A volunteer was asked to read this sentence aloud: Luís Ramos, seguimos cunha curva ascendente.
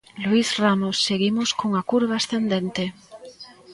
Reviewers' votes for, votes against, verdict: 1, 2, rejected